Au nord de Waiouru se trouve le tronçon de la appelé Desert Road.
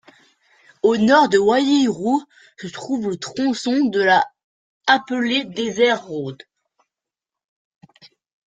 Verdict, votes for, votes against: rejected, 1, 2